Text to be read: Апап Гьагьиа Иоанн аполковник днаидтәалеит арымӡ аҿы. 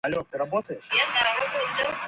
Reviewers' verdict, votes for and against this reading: rejected, 0, 2